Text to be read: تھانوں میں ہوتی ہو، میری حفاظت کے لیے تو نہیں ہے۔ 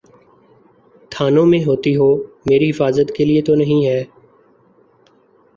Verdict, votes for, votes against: accepted, 2, 0